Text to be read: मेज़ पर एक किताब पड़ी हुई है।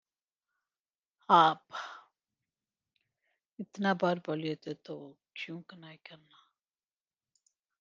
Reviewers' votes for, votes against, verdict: 0, 2, rejected